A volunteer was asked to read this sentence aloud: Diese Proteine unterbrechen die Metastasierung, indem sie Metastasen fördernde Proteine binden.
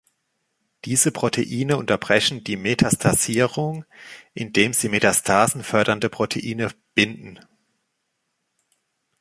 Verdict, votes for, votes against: accepted, 2, 0